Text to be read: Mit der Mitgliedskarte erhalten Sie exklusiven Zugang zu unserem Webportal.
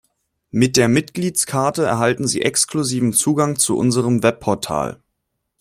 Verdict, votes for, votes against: accepted, 2, 0